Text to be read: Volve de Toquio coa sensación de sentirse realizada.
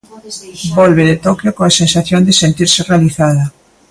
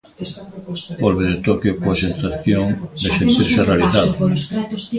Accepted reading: first